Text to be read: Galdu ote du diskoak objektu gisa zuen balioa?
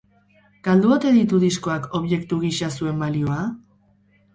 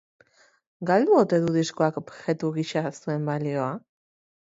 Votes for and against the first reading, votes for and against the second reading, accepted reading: 2, 4, 3, 0, second